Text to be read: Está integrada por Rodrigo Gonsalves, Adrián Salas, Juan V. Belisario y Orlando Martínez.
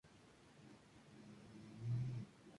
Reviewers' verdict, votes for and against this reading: accepted, 2, 0